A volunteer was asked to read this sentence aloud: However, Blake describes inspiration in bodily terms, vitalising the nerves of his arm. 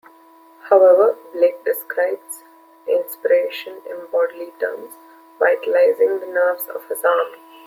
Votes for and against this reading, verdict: 2, 0, accepted